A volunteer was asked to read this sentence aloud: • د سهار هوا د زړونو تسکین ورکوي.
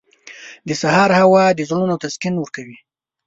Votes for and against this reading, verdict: 2, 0, accepted